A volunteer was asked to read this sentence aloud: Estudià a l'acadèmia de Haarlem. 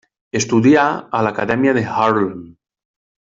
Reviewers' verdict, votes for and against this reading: rejected, 1, 2